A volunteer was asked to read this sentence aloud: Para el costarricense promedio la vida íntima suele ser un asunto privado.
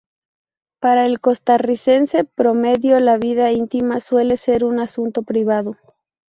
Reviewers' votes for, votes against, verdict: 2, 0, accepted